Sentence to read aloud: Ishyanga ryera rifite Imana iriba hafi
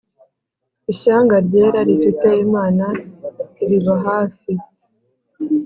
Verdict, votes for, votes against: accepted, 2, 0